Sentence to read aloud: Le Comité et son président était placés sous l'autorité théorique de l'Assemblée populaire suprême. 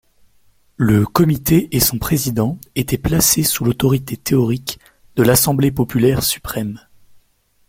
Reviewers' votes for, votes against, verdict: 2, 0, accepted